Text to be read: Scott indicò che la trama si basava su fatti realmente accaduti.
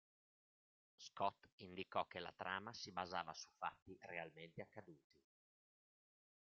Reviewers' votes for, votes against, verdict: 2, 0, accepted